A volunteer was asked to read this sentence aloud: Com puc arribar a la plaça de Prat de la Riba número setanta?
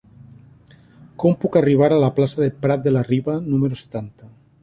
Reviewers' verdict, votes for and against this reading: rejected, 0, 2